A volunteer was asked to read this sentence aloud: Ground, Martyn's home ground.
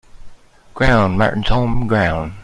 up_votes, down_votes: 2, 0